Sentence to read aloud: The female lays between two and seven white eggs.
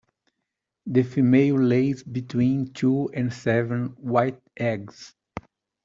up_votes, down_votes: 2, 0